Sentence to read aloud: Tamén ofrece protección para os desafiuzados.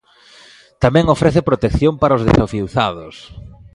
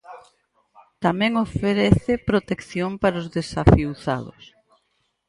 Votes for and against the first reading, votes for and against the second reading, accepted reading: 2, 1, 2, 4, first